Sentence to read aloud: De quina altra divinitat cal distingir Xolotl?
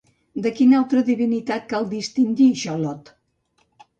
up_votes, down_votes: 2, 0